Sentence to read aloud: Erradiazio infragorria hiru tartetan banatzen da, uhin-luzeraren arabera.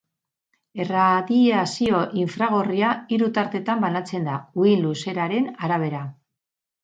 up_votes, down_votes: 2, 2